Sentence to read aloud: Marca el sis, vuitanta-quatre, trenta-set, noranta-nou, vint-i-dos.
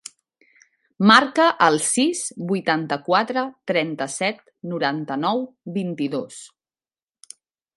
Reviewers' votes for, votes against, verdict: 3, 0, accepted